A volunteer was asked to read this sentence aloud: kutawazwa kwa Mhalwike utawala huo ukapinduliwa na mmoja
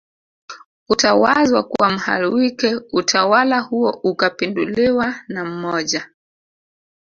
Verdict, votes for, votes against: accepted, 2, 0